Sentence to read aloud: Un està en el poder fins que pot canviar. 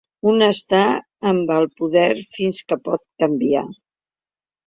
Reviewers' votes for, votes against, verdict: 0, 2, rejected